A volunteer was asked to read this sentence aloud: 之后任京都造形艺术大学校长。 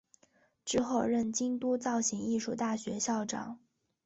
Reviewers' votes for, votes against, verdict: 5, 0, accepted